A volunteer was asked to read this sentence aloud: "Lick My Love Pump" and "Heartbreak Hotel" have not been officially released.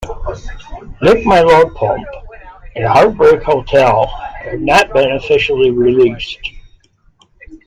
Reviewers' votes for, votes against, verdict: 2, 1, accepted